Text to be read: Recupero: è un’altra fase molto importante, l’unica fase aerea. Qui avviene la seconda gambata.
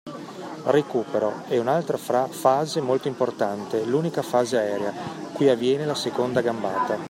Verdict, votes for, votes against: accepted, 2, 0